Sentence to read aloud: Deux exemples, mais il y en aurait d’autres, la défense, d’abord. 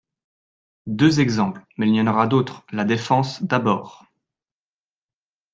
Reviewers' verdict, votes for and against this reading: rejected, 1, 2